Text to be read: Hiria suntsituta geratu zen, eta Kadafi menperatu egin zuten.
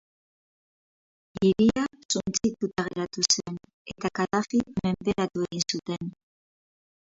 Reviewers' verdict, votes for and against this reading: rejected, 0, 2